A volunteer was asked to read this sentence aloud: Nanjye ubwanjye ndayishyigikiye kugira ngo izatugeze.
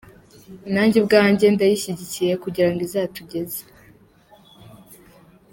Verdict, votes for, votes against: rejected, 1, 2